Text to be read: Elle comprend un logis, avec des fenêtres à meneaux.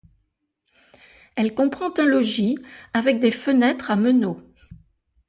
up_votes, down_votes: 2, 0